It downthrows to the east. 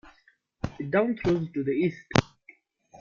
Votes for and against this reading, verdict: 2, 0, accepted